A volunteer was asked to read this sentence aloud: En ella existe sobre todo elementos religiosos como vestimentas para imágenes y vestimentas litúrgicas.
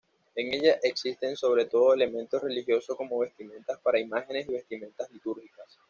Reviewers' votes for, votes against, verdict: 1, 2, rejected